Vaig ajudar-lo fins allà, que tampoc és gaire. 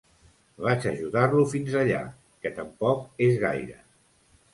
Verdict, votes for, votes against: accepted, 2, 0